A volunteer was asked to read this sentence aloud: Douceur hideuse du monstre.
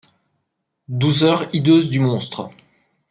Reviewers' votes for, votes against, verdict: 2, 1, accepted